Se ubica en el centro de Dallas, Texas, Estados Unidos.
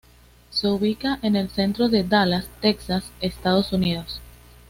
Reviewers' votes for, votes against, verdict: 2, 0, accepted